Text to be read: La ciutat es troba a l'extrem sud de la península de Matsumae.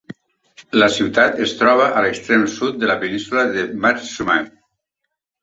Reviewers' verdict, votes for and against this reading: accepted, 2, 0